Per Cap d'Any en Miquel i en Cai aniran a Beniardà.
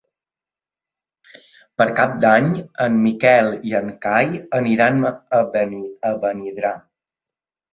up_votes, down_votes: 0, 2